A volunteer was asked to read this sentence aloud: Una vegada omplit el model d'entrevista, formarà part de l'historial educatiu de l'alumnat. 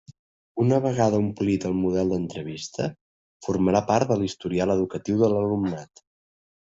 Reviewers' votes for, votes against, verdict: 3, 0, accepted